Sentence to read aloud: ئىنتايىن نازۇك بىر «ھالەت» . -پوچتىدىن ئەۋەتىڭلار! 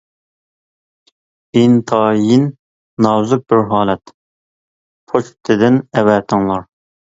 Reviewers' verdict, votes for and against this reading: accepted, 2, 0